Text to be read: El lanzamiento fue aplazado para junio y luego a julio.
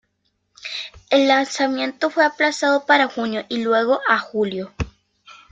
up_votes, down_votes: 2, 0